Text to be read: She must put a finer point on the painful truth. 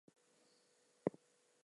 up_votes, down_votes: 0, 2